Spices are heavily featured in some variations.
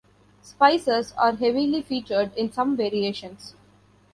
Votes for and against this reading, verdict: 2, 0, accepted